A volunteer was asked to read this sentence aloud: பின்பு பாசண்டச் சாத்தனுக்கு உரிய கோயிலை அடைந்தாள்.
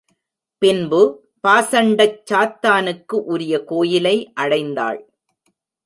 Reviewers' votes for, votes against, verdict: 0, 2, rejected